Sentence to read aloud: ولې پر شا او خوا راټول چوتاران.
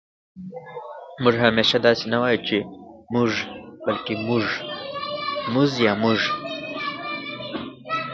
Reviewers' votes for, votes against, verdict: 1, 2, rejected